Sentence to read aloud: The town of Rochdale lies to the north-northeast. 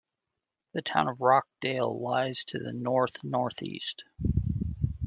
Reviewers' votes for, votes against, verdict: 2, 0, accepted